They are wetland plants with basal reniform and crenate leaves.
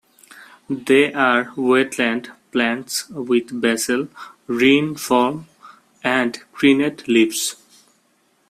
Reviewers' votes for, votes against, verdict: 0, 2, rejected